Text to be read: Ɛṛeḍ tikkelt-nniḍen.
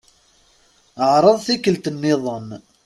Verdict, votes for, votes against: accepted, 3, 0